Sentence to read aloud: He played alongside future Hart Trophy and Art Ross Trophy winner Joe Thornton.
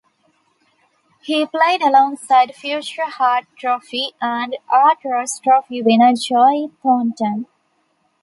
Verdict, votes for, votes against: accepted, 2, 0